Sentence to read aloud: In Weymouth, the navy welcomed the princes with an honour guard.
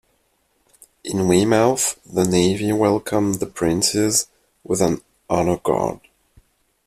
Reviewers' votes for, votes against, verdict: 0, 2, rejected